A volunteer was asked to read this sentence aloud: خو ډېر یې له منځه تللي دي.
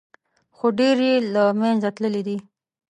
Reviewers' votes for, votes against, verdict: 2, 0, accepted